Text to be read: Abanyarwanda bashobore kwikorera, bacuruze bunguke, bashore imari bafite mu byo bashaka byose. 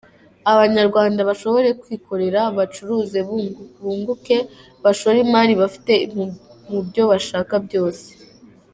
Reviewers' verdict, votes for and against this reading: rejected, 0, 2